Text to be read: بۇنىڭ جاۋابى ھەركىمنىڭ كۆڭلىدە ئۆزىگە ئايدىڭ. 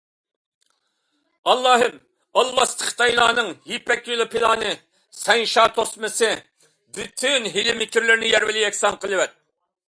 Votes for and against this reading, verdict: 0, 2, rejected